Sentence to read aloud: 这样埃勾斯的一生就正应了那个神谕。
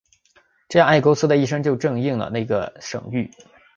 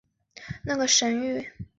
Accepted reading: first